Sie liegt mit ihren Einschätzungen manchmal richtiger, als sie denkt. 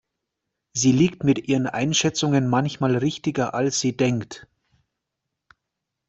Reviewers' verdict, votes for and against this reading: accepted, 2, 0